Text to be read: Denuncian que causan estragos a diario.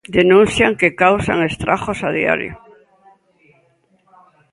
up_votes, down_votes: 0, 2